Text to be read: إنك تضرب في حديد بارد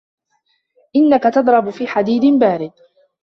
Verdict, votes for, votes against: rejected, 1, 2